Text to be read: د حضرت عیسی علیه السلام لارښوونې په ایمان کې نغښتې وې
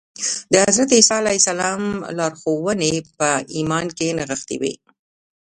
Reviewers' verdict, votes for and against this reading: accepted, 2, 1